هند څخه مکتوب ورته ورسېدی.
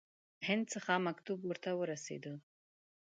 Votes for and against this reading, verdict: 2, 0, accepted